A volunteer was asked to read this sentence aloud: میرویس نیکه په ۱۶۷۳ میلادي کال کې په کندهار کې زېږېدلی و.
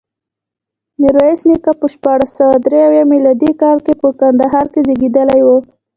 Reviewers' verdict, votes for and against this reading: rejected, 0, 2